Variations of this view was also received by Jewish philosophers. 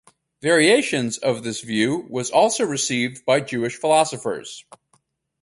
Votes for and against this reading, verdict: 4, 0, accepted